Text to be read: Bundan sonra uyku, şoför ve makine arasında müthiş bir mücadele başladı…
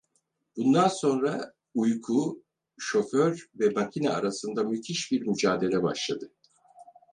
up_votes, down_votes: 4, 0